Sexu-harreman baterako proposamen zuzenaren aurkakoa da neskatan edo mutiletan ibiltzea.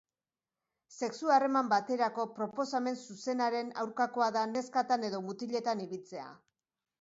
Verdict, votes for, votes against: accepted, 2, 0